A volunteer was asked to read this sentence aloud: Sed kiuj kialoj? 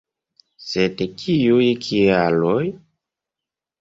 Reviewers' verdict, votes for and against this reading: accepted, 3, 0